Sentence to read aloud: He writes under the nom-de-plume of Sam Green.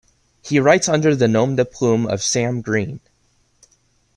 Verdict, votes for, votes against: accepted, 2, 0